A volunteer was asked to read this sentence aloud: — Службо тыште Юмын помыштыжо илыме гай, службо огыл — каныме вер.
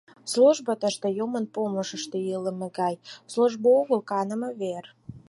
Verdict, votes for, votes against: accepted, 4, 2